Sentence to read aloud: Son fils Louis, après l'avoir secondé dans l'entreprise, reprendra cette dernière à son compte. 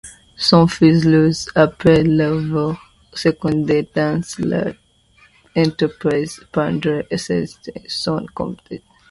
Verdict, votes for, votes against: rejected, 0, 2